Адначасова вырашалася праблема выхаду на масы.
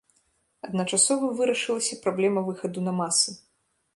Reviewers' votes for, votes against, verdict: 1, 2, rejected